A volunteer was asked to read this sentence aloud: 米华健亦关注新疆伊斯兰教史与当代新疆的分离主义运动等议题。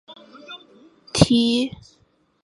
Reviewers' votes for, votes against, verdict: 0, 2, rejected